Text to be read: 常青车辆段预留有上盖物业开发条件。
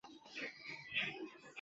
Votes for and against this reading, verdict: 0, 5, rejected